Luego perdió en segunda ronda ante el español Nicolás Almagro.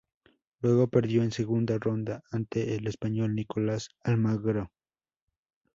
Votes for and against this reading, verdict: 2, 2, rejected